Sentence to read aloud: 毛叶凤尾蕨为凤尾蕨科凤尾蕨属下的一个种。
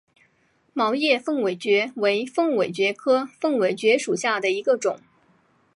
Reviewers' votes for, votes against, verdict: 5, 0, accepted